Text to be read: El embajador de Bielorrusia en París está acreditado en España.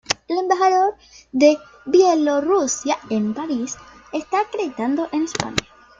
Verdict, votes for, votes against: rejected, 0, 2